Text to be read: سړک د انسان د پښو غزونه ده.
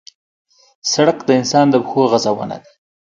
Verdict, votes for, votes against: accepted, 2, 0